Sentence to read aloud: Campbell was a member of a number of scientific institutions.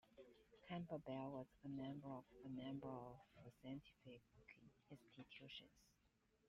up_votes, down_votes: 1, 2